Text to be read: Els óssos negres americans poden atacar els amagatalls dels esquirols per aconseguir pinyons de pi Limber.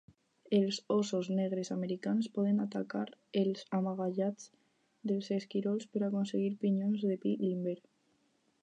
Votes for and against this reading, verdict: 2, 2, rejected